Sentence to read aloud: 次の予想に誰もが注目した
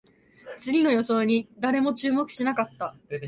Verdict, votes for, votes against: rejected, 0, 2